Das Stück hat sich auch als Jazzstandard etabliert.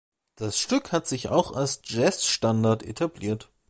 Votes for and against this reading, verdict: 2, 0, accepted